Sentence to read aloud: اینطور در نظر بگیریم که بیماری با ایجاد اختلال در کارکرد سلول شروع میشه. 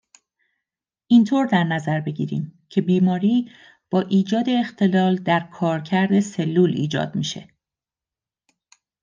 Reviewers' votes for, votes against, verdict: 1, 2, rejected